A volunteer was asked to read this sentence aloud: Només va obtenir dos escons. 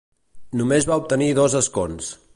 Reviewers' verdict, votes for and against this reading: accepted, 2, 0